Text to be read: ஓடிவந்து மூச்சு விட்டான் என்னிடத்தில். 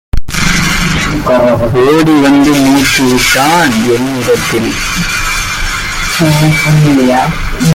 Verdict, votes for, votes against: rejected, 0, 2